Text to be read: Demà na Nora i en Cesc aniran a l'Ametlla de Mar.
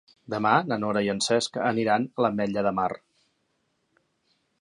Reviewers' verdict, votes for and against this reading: accepted, 3, 0